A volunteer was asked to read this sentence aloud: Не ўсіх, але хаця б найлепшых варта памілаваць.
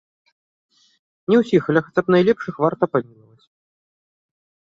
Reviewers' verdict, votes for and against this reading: rejected, 0, 2